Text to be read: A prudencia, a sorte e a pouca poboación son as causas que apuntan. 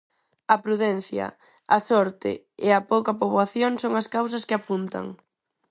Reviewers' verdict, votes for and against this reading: accepted, 4, 0